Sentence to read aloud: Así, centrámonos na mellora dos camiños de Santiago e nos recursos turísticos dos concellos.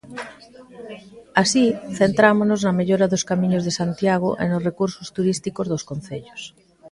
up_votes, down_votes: 2, 1